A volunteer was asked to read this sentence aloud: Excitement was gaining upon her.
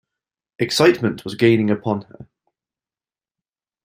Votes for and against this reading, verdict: 2, 0, accepted